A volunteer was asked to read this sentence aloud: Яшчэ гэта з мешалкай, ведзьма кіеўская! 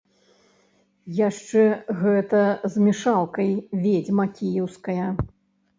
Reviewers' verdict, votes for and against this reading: rejected, 1, 2